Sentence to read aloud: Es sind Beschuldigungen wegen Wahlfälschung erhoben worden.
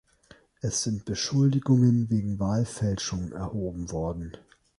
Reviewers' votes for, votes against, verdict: 2, 0, accepted